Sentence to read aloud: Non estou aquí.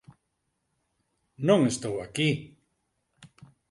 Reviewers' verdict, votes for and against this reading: accepted, 4, 0